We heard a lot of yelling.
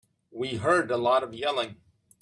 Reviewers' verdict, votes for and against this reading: accepted, 2, 0